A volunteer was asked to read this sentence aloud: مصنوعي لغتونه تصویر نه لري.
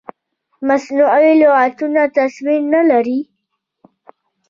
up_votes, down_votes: 1, 2